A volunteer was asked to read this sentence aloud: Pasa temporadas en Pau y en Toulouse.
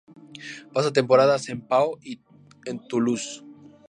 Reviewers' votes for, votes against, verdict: 2, 0, accepted